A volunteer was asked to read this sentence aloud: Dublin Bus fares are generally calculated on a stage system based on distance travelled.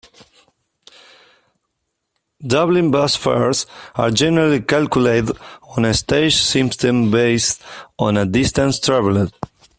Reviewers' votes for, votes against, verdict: 1, 2, rejected